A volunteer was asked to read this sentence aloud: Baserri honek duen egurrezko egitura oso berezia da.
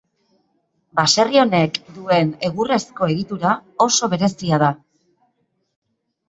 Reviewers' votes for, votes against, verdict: 2, 0, accepted